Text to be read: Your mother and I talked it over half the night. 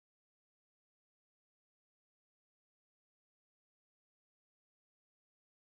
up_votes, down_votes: 0, 2